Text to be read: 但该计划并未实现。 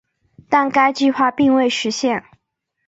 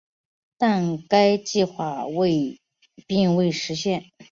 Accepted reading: first